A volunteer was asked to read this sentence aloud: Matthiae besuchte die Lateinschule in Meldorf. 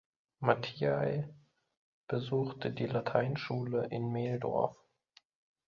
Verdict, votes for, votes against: rejected, 0, 2